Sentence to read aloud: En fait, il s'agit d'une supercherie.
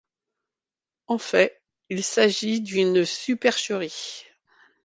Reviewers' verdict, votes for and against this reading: accepted, 2, 0